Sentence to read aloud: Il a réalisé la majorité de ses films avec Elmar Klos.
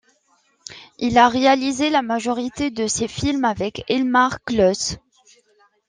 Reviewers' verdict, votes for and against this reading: accepted, 2, 0